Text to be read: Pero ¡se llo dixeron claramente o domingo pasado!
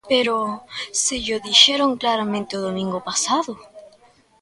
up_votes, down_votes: 2, 0